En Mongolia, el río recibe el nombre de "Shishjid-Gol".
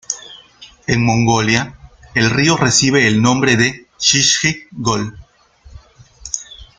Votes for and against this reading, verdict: 2, 1, accepted